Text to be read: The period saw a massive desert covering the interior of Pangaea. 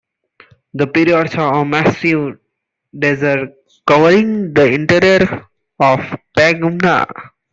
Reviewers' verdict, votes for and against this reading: accepted, 2, 0